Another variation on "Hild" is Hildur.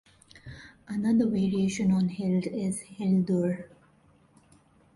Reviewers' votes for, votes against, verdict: 1, 2, rejected